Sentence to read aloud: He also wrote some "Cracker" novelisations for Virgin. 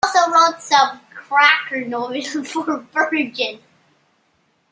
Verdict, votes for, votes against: rejected, 0, 2